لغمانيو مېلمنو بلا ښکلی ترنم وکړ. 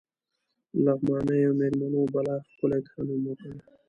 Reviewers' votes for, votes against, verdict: 0, 2, rejected